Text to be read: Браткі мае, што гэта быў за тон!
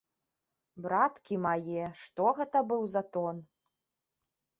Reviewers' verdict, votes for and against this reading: rejected, 0, 2